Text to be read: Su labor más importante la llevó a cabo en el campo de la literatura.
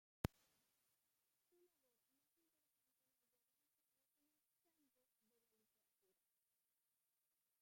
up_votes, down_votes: 0, 2